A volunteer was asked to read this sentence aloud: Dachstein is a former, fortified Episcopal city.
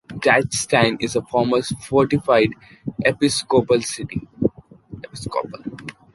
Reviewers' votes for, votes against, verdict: 0, 2, rejected